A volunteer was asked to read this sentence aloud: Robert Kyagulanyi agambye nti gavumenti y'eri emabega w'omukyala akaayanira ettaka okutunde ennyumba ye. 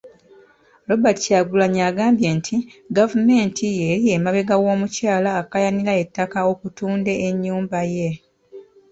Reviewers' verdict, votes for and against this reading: accepted, 2, 0